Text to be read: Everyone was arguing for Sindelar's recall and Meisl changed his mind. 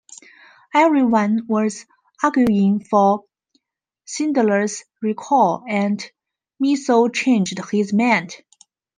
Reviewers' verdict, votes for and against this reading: rejected, 0, 2